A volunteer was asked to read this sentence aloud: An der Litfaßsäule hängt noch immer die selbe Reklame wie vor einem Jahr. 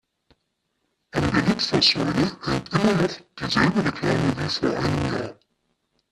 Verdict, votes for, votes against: rejected, 0, 2